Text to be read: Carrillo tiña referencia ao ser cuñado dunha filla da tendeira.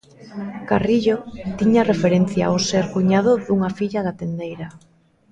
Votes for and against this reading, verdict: 2, 0, accepted